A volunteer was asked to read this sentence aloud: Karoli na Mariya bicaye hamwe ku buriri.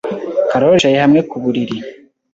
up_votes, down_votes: 1, 2